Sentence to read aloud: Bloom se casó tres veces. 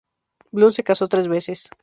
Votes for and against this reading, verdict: 2, 2, rejected